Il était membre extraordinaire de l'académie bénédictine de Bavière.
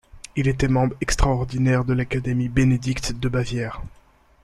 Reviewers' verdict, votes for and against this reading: rejected, 0, 2